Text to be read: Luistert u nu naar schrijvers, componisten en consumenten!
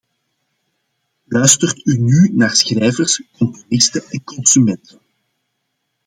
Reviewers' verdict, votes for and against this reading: accepted, 2, 0